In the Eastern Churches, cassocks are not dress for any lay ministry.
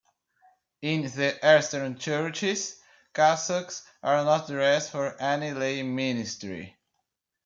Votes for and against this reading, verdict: 0, 2, rejected